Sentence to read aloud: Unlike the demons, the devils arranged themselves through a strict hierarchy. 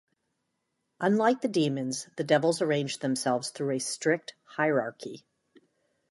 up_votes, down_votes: 2, 0